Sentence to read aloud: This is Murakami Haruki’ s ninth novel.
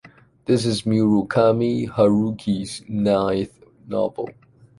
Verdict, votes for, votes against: accepted, 2, 0